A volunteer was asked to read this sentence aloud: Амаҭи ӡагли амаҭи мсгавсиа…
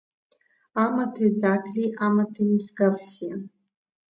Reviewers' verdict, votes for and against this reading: accepted, 2, 1